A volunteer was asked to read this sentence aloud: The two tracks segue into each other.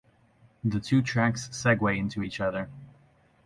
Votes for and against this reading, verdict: 0, 2, rejected